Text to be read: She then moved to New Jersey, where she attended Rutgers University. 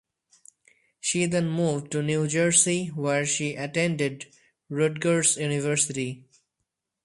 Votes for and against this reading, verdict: 2, 0, accepted